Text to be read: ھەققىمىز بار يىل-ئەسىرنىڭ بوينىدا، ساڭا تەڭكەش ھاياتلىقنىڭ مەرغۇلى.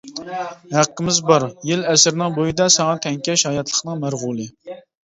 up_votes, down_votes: 0, 2